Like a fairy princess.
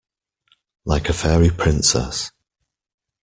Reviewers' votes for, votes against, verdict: 2, 0, accepted